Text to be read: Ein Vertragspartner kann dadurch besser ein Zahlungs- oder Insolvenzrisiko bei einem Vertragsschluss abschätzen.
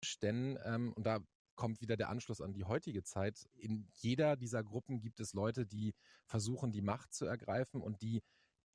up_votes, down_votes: 0, 2